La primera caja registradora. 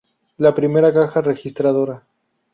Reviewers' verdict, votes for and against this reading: rejected, 0, 2